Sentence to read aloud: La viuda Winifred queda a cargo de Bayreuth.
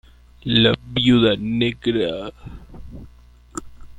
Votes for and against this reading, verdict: 0, 2, rejected